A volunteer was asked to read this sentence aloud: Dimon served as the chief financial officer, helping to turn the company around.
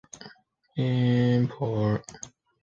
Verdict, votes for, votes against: rejected, 0, 2